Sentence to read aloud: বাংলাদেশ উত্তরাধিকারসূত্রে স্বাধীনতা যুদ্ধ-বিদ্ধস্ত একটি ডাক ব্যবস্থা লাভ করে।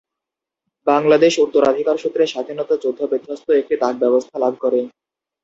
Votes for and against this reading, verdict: 0, 2, rejected